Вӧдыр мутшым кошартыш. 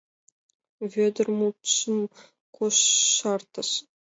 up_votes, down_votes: 2, 0